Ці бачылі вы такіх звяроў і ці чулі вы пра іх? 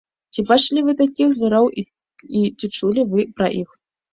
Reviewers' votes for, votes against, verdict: 1, 2, rejected